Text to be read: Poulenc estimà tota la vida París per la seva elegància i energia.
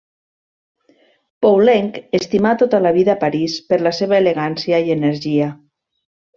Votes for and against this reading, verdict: 2, 0, accepted